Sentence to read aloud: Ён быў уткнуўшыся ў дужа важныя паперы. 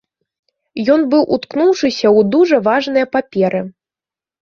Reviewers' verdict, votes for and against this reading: accepted, 2, 0